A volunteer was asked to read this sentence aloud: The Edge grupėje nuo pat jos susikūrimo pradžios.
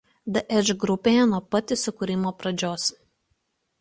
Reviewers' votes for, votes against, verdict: 0, 2, rejected